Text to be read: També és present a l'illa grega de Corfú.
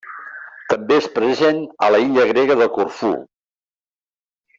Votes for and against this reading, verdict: 1, 2, rejected